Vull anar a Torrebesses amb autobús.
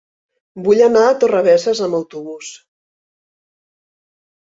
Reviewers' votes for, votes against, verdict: 2, 0, accepted